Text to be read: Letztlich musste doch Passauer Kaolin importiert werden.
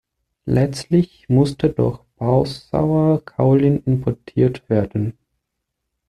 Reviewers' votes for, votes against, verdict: 2, 0, accepted